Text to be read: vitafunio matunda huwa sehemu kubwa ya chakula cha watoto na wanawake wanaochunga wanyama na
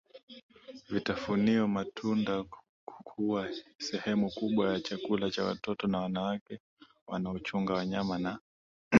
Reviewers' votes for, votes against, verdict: 2, 0, accepted